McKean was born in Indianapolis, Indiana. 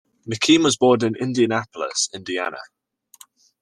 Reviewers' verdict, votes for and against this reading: accepted, 2, 0